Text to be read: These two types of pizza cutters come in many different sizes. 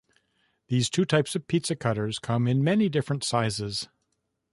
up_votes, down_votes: 1, 2